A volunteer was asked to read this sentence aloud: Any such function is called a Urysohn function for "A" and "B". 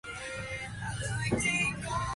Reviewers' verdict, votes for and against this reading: rejected, 0, 2